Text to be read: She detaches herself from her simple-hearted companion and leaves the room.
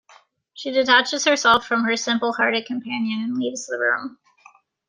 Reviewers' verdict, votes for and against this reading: accepted, 2, 0